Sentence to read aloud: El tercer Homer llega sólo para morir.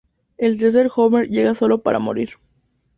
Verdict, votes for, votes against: accepted, 2, 0